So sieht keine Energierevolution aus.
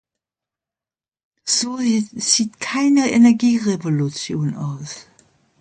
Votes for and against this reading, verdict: 2, 0, accepted